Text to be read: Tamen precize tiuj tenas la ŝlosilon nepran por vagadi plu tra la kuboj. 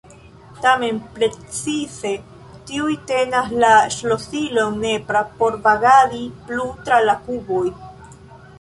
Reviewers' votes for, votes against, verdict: 1, 2, rejected